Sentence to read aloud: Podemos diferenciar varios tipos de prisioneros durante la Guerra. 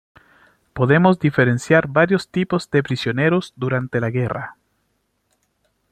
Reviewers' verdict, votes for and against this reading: rejected, 1, 2